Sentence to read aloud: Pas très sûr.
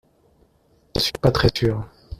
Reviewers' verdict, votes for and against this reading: rejected, 1, 2